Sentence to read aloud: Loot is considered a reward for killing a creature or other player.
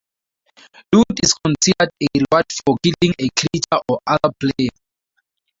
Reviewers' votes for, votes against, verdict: 2, 2, rejected